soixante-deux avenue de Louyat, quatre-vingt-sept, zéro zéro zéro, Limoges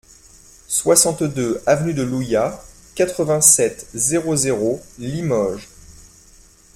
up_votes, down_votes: 0, 2